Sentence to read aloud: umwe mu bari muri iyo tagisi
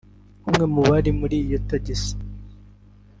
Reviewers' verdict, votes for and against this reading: accepted, 2, 1